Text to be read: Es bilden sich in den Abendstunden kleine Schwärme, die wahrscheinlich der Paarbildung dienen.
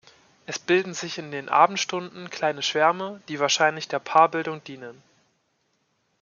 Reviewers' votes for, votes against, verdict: 2, 0, accepted